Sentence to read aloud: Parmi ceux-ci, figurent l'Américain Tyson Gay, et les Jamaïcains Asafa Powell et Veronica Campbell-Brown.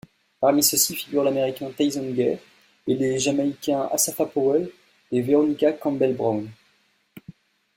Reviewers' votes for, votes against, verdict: 2, 1, accepted